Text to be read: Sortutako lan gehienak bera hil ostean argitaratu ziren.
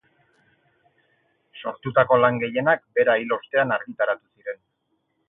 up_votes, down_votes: 6, 4